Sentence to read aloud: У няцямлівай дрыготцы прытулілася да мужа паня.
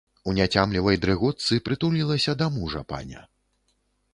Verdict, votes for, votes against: accepted, 2, 0